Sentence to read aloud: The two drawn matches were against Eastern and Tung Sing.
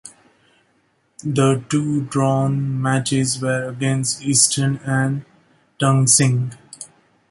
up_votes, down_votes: 2, 1